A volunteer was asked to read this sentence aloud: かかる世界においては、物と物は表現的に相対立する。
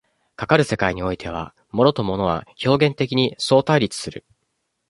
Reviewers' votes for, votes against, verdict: 0, 2, rejected